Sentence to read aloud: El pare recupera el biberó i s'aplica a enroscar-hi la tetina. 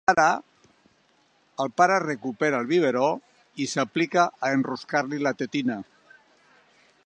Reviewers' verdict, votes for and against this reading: rejected, 1, 2